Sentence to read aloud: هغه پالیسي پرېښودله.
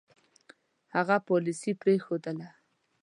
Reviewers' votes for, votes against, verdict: 2, 0, accepted